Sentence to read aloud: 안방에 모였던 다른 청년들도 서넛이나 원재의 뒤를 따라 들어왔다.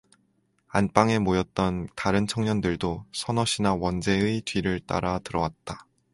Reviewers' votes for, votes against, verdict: 4, 0, accepted